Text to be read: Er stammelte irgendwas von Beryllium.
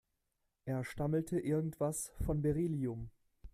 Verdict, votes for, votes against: accepted, 2, 0